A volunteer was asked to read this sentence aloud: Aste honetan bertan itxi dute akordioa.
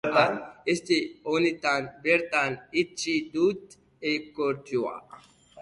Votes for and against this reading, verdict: 0, 2, rejected